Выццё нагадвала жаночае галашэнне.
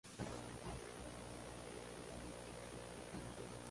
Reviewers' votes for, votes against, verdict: 0, 2, rejected